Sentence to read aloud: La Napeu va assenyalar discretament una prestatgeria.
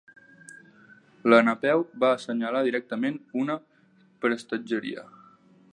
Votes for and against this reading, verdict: 0, 2, rejected